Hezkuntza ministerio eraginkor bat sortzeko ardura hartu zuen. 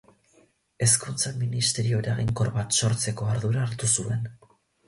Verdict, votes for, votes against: rejected, 0, 4